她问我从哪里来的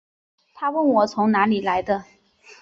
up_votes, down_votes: 4, 0